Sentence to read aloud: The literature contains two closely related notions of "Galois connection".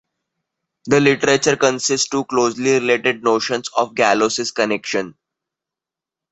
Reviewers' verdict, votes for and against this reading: rejected, 1, 2